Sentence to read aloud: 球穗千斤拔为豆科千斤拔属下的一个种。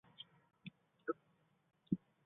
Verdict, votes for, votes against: rejected, 0, 2